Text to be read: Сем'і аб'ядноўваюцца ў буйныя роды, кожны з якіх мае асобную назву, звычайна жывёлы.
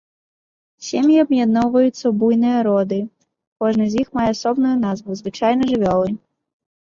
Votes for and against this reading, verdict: 0, 2, rejected